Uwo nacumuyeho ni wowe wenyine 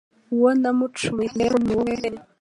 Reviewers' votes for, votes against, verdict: 3, 0, accepted